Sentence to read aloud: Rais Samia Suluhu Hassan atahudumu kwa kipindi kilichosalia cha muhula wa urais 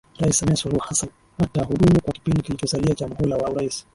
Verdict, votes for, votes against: rejected, 0, 2